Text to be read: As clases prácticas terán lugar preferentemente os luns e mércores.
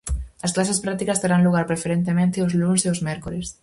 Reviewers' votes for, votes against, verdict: 0, 4, rejected